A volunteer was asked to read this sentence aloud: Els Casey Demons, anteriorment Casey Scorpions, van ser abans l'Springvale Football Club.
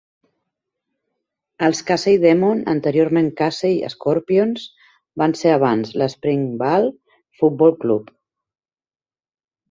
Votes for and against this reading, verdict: 1, 2, rejected